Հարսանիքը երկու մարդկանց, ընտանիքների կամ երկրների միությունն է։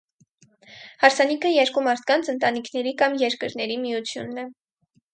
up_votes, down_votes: 6, 0